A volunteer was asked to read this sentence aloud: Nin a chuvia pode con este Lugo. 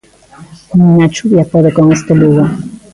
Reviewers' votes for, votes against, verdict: 2, 1, accepted